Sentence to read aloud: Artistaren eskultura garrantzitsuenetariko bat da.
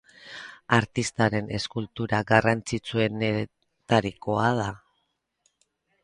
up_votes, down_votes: 0, 10